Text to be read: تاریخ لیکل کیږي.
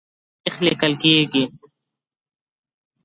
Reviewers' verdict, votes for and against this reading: rejected, 1, 2